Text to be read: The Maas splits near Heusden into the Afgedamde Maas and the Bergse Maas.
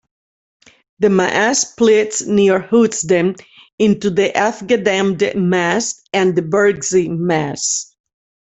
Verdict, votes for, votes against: rejected, 1, 2